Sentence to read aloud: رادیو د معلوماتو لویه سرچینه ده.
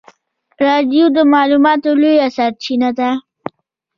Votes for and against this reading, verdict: 1, 2, rejected